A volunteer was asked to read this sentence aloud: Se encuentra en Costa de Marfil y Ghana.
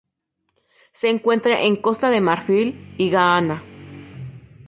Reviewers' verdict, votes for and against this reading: rejected, 0, 2